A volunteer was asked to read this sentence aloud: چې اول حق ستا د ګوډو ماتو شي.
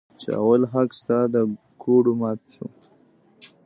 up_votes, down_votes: 0, 2